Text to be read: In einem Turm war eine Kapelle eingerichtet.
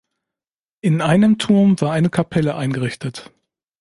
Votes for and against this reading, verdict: 2, 0, accepted